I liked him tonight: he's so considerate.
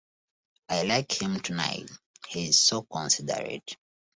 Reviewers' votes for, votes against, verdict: 2, 1, accepted